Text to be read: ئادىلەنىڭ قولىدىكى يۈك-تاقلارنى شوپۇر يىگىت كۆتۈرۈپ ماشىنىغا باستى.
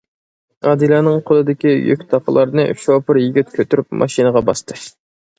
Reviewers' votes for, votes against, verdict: 2, 0, accepted